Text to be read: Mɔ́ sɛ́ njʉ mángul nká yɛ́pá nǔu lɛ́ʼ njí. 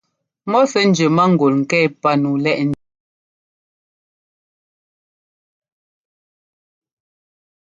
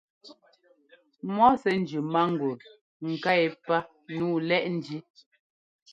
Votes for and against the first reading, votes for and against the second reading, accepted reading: 0, 2, 2, 0, second